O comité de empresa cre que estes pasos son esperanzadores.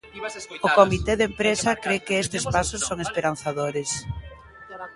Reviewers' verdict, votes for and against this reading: rejected, 0, 2